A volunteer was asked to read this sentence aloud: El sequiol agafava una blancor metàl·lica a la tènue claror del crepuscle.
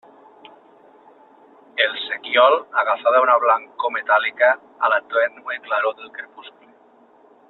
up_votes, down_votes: 0, 2